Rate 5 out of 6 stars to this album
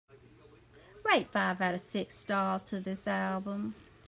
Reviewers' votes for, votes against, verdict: 0, 2, rejected